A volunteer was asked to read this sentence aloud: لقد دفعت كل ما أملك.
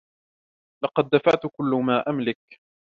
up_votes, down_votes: 2, 1